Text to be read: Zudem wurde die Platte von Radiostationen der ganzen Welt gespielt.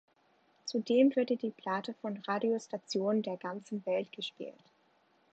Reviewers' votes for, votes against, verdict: 2, 3, rejected